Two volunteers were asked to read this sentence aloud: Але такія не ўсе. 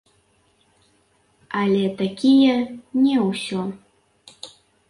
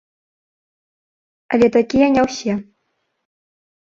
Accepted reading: second